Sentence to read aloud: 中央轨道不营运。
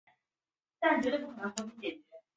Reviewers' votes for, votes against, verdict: 2, 3, rejected